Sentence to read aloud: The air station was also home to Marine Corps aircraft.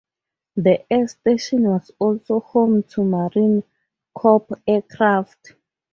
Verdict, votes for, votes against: rejected, 2, 2